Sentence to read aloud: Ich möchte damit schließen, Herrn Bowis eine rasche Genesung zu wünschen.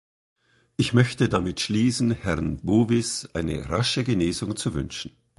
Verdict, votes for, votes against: accepted, 3, 0